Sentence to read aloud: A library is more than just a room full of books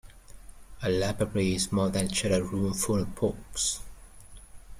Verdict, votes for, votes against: rejected, 0, 2